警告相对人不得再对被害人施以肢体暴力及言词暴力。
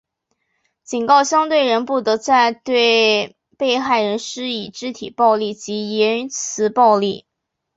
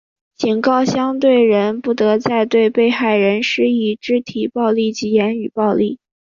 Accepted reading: first